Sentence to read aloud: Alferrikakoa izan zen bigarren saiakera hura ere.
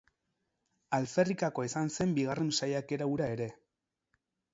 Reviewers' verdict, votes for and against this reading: accepted, 4, 0